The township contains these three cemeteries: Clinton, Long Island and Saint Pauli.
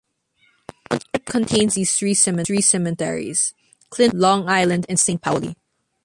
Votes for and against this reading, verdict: 0, 3, rejected